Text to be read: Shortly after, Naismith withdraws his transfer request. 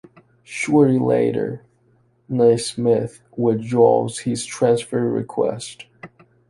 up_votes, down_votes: 1, 2